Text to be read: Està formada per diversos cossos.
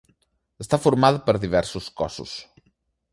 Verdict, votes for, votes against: rejected, 0, 2